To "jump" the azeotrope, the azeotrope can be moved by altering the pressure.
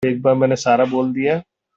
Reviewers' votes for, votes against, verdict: 0, 2, rejected